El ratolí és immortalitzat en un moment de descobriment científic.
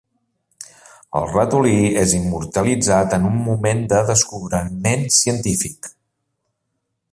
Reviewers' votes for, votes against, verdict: 1, 2, rejected